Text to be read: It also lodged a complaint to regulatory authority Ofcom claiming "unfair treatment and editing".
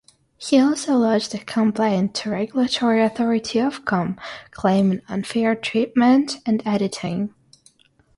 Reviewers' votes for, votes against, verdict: 0, 3, rejected